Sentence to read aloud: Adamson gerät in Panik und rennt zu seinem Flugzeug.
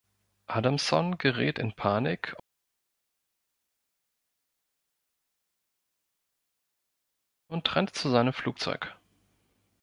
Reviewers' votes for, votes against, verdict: 1, 2, rejected